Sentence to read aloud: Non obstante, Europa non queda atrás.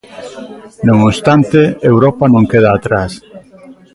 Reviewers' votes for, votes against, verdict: 2, 1, accepted